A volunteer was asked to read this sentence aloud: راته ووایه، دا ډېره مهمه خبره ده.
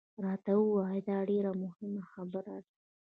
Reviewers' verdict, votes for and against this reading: accepted, 2, 0